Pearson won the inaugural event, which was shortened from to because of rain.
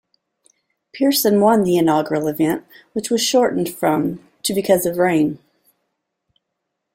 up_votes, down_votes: 1, 2